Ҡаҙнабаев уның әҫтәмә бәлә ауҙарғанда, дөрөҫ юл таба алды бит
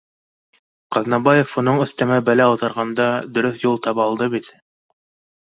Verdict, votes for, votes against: accepted, 2, 0